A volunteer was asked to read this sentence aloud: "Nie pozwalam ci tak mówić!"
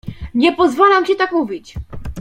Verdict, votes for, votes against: accepted, 2, 0